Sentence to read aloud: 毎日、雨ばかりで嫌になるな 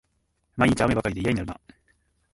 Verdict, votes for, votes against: rejected, 2, 3